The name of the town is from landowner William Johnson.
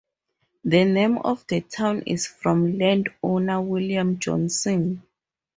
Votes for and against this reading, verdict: 4, 0, accepted